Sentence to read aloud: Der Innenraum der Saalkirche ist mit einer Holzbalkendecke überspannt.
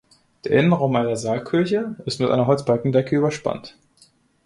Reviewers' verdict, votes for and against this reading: rejected, 1, 2